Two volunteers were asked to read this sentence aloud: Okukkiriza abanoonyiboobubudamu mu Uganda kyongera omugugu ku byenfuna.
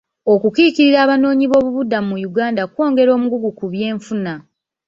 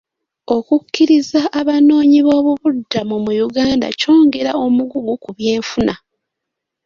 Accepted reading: second